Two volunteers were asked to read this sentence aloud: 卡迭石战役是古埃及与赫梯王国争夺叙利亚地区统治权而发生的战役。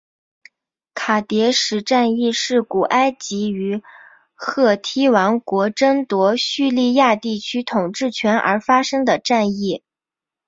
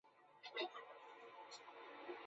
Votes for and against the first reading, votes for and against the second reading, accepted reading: 4, 0, 1, 4, first